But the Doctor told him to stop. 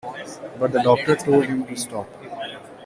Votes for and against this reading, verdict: 1, 2, rejected